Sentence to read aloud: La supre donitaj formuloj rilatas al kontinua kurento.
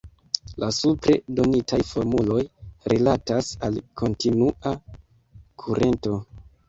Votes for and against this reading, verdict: 1, 2, rejected